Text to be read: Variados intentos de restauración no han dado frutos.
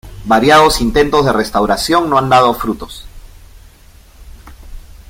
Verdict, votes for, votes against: accepted, 2, 0